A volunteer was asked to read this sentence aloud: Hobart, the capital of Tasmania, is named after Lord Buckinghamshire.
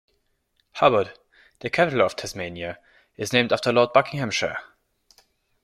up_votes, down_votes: 2, 0